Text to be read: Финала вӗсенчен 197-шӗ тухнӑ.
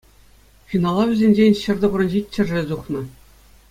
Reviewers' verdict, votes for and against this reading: rejected, 0, 2